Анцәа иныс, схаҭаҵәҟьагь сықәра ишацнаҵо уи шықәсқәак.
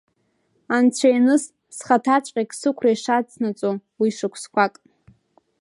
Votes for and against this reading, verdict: 2, 0, accepted